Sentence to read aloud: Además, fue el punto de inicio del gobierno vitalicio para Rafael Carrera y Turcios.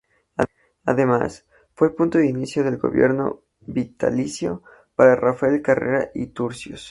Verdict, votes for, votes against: rejected, 0, 2